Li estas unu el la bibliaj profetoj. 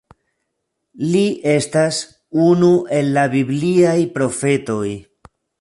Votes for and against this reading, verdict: 2, 0, accepted